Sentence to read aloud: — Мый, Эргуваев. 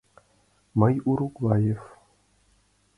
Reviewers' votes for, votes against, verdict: 0, 2, rejected